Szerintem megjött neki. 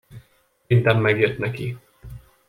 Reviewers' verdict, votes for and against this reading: rejected, 0, 2